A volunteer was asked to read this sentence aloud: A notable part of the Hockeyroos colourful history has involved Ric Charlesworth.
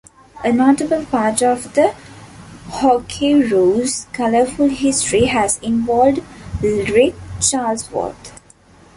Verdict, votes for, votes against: accepted, 2, 0